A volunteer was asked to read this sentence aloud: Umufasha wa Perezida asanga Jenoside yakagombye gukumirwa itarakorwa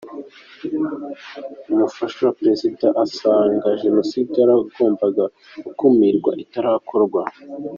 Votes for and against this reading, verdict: 0, 2, rejected